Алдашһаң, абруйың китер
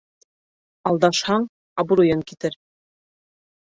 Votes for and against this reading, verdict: 2, 0, accepted